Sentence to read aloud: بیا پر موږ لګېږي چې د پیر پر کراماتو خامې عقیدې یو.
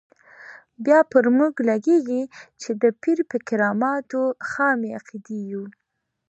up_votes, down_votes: 2, 0